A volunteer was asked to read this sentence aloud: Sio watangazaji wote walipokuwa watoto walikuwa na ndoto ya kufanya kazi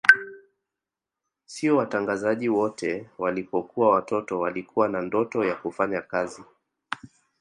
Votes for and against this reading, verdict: 2, 0, accepted